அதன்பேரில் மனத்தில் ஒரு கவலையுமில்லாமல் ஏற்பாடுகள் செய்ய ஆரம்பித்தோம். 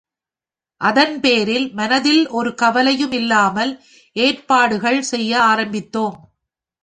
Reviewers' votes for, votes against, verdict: 4, 1, accepted